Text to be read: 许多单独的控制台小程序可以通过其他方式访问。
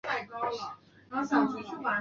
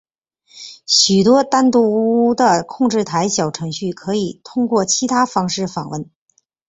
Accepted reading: second